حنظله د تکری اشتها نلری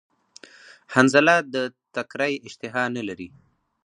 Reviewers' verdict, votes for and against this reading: rejected, 2, 2